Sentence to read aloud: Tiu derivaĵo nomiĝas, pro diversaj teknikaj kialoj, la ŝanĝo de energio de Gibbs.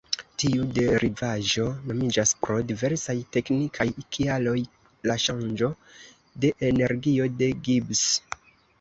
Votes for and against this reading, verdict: 2, 0, accepted